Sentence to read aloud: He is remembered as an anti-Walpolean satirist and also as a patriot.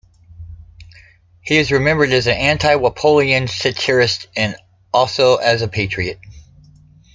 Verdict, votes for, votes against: accepted, 2, 0